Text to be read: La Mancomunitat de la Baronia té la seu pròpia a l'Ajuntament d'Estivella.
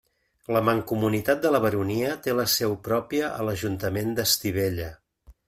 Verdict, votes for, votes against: accepted, 3, 0